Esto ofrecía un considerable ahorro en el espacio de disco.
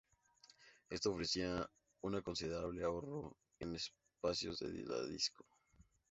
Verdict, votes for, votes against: rejected, 0, 2